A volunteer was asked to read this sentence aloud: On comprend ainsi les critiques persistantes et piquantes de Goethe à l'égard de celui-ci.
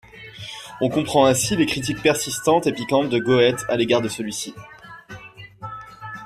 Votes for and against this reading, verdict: 1, 2, rejected